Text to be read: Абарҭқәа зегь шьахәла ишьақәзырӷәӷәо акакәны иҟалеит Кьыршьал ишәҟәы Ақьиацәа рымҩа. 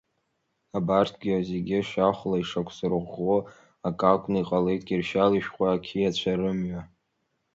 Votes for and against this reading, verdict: 0, 2, rejected